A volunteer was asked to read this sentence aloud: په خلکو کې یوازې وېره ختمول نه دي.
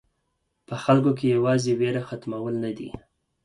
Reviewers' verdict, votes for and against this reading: accepted, 4, 0